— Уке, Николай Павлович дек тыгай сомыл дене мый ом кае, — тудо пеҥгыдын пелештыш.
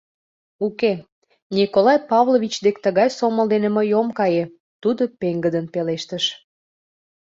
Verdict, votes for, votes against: accepted, 2, 0